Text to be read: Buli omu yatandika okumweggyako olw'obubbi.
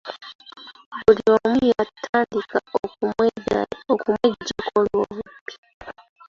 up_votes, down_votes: 1, 2